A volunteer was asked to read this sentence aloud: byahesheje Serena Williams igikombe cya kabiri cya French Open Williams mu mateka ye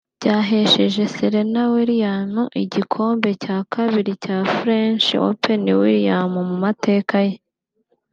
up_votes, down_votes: 2, 0